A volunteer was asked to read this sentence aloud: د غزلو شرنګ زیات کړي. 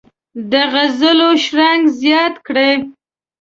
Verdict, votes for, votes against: accepted, 2, 0